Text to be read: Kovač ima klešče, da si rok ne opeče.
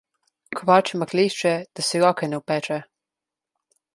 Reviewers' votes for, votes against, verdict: 0, 2, rejected